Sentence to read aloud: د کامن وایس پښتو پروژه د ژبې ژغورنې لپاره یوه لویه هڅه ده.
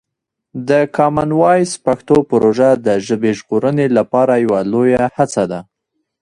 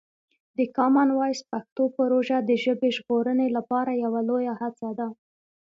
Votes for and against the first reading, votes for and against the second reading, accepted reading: 1, 2, 2, 0, second